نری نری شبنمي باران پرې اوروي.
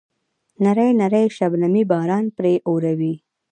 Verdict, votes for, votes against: rejected, 1, 2